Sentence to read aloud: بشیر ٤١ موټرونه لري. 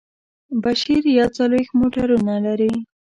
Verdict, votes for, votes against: rejected, 0, 2